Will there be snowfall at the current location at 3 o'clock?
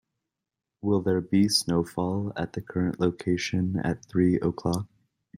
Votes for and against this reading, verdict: 0, 2, rejected